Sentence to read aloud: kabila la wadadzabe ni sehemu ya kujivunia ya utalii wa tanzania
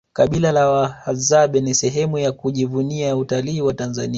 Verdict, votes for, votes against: accepted, 2, 0